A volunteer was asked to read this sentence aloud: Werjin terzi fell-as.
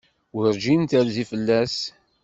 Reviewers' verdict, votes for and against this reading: accepted, 2, 0